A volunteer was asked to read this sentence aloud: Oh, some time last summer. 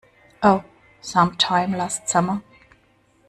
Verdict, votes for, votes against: accepted, 2, 0